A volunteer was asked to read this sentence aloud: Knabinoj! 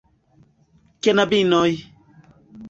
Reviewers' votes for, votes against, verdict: 2, 0, accepted